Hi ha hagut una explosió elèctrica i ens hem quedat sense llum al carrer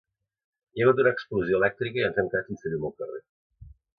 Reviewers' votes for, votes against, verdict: 2, 0, accepted